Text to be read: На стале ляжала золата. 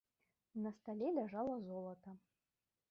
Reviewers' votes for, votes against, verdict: 3, 0, accepted